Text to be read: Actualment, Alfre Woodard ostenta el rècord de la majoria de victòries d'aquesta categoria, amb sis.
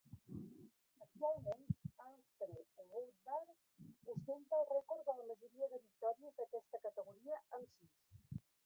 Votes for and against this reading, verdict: 0, 2, rejected